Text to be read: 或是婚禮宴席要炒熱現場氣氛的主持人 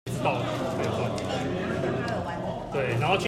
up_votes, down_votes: 0, 2